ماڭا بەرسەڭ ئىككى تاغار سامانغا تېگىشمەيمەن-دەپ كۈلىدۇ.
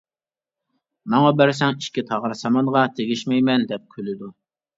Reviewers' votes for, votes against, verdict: 2, 1, accepted